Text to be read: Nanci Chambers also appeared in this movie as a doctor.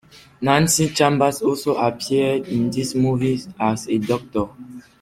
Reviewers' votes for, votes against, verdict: 2, 0, accepted